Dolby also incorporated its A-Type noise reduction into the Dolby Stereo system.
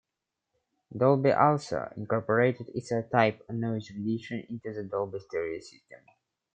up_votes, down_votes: 0, 2